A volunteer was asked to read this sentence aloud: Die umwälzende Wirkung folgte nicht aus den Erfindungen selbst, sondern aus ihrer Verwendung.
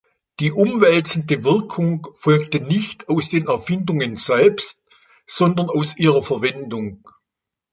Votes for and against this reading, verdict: 3, 0, accepted